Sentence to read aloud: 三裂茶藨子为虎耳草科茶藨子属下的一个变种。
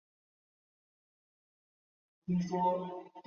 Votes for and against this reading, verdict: 0, 3, rejected